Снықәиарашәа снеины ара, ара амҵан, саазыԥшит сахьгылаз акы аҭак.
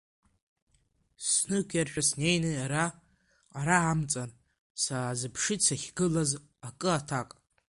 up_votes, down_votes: 2, 0